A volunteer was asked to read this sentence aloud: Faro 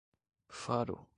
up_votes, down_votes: 2, 0